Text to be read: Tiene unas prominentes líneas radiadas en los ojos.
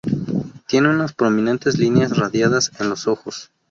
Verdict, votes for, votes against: accepted, 2, 0